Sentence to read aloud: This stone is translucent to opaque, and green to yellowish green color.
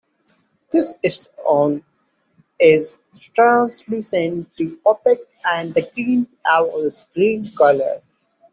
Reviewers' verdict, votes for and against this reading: rejected, 0, 2